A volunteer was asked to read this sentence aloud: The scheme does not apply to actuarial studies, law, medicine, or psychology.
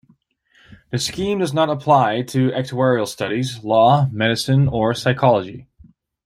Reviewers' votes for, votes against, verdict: 1, 2, rejected